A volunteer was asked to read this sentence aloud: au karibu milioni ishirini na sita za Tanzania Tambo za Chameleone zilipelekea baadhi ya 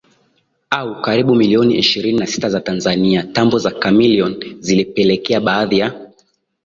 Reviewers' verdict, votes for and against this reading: accepted, 2, 0